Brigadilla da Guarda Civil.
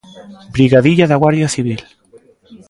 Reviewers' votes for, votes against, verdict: 2, 3, rejected